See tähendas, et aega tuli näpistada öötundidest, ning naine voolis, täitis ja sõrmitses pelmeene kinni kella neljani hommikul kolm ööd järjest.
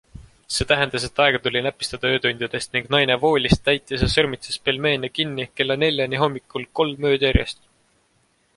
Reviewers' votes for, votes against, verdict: 2, 0, accepted